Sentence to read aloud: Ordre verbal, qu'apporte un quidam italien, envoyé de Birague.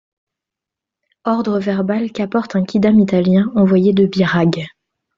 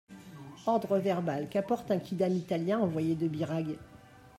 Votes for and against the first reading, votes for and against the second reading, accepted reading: 2, 0, 1, 2, first